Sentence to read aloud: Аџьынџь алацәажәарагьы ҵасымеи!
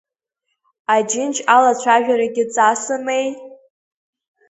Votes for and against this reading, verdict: 1, 2, rejected